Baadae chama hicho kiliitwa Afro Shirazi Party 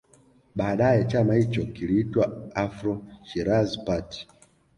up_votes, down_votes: 2, 0